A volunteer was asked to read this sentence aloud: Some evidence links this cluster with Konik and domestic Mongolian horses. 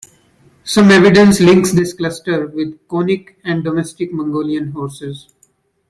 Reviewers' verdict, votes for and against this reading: accepted, 2, 0